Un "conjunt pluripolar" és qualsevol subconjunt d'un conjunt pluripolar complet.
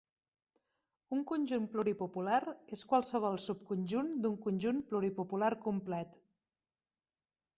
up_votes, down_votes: 0, 2